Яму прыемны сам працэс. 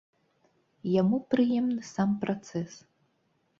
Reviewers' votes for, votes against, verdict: 2, 0, accepted